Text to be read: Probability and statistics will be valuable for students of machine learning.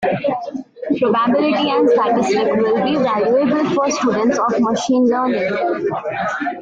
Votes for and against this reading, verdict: 1, 2, rejected